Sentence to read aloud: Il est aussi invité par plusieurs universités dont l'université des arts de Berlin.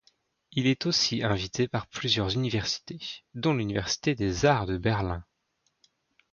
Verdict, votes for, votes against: accepted, 2, 0